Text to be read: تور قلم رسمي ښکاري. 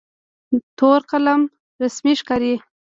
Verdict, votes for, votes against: accepted, 2, 0